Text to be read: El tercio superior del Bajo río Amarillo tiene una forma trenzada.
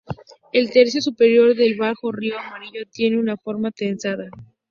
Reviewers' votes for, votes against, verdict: 2, 0, accepted